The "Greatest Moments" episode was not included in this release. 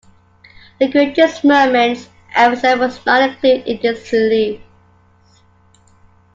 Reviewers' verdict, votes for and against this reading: rejected, 0, 2